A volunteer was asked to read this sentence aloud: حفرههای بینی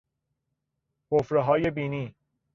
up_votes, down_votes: 2, 0